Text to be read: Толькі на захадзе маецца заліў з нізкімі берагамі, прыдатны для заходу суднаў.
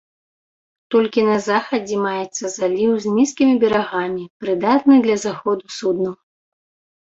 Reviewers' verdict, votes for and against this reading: accepted, 2, 0